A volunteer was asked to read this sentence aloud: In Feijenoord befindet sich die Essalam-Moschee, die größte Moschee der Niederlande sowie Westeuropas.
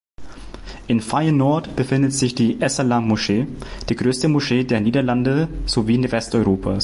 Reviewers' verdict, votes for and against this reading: rejected, 0, 2